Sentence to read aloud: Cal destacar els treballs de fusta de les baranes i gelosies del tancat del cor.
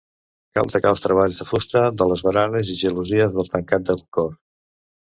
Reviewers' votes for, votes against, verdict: 1, 2, rejected